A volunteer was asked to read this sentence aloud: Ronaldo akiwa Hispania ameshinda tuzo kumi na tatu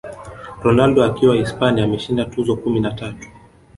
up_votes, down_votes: 1, 2